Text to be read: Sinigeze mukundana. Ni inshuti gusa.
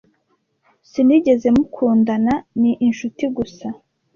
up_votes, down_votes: 2, 0